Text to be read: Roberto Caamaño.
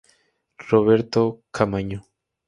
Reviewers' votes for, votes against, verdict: 0, 2, rejected